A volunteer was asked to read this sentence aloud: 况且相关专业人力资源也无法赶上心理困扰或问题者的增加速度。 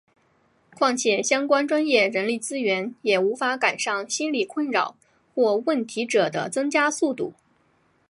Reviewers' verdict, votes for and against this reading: accepted, 2, 0